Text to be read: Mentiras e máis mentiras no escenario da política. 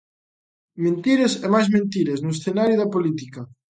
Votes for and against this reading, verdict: 3, 0, accepted